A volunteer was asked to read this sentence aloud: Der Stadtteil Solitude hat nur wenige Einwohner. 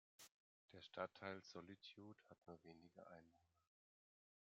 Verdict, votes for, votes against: rejected, 1, 2